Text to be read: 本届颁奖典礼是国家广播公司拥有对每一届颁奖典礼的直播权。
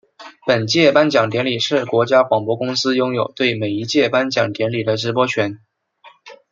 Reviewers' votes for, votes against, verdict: 2, 0, accepted